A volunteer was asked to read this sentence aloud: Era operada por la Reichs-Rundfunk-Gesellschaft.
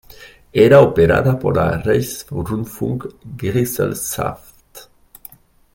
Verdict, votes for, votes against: accepted, 2, 0